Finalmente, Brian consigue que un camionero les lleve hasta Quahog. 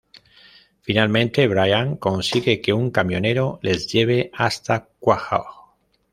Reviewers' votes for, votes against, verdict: 2, 1, accepted